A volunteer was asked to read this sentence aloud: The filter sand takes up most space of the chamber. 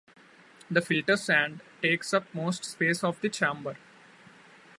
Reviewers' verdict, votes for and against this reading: accepted, 2, 0